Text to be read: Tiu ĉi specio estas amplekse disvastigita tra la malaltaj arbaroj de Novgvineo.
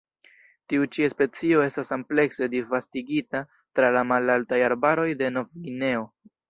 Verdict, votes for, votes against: rejected, 1, 2